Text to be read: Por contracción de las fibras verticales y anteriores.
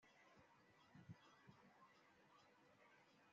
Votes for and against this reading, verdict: 0, 2, rejected